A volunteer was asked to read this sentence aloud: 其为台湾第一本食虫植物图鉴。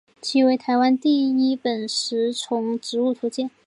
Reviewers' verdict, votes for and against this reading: accepted, 2, 0